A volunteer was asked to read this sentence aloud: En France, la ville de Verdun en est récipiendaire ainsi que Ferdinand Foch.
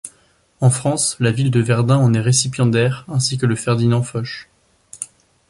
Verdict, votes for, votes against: rejected, 1, 2